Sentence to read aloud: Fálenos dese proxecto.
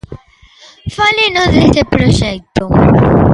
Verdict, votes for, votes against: rejected, 1, 2